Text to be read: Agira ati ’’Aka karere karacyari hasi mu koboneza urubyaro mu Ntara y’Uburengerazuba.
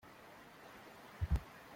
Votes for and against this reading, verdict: 0, 2, rejected